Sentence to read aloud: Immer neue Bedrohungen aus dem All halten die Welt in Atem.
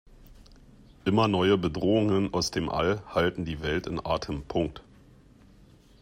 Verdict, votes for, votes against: rejected, 0, 2